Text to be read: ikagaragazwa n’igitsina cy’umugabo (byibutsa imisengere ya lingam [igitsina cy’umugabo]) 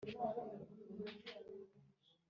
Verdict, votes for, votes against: rejected, 0, 3